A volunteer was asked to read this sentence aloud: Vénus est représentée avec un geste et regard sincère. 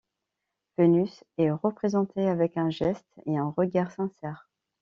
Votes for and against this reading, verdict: 1, 2, rejected